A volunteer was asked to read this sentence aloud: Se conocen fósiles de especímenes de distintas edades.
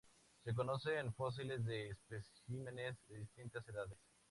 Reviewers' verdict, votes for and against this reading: accepted, 2, 0